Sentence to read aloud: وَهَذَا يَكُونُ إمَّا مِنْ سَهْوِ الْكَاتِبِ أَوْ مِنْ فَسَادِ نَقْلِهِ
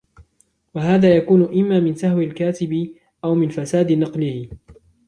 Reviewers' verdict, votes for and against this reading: accepted, 2, 0